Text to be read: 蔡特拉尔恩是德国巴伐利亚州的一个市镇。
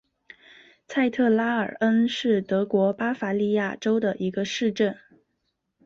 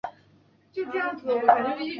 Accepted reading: first